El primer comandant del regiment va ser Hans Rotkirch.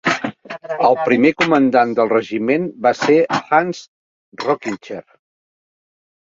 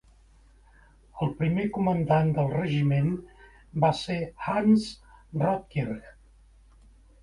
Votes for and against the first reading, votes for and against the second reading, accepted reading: 0, 2, 2, 0, second